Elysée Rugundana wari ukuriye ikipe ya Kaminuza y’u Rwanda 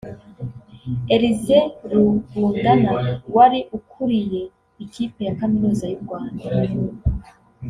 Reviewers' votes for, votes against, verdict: 0, 2, rejected